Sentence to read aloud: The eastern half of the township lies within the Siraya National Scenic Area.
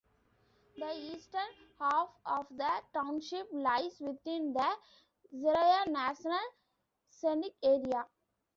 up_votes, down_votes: 3, 2